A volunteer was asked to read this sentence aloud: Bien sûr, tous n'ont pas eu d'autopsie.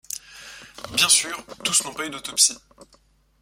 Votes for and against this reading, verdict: 2, 0, accepted